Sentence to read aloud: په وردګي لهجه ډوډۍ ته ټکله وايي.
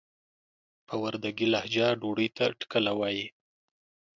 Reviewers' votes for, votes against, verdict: 2, 0, accepted